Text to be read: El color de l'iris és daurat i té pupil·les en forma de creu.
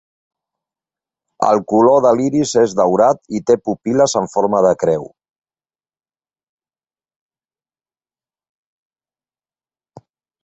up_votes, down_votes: 2, 0